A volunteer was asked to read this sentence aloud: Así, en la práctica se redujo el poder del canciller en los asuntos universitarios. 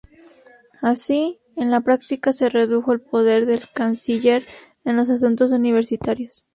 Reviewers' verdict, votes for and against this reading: rejected, 0, 2